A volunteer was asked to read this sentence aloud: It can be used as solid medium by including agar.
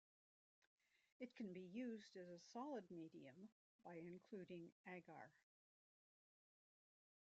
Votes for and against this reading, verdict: 0, 2, rejected